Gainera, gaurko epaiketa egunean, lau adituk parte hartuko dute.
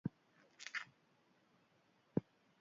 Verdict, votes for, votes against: rejected, 0, 2